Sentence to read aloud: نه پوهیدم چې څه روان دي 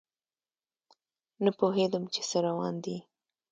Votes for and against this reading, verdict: 2, 0, accepted